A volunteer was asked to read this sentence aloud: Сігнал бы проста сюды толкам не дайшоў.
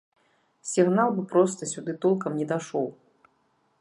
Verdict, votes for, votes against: accepted, 2, 0